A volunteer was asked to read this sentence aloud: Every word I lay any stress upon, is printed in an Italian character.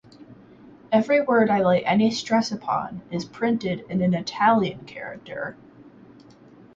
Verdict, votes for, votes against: accepted, 4, 0